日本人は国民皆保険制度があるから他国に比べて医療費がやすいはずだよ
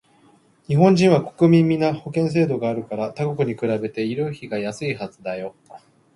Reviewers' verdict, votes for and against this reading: accepted, 3, 2